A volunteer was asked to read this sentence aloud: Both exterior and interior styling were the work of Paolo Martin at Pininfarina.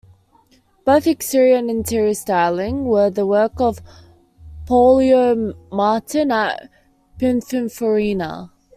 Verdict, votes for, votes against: rejected, 0, 2